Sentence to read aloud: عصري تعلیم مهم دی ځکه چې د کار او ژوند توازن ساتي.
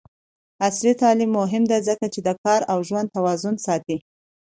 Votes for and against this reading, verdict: 2, 0, accepted